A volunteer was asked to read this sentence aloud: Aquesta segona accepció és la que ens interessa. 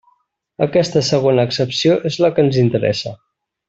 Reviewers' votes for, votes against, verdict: 2, 0, accepted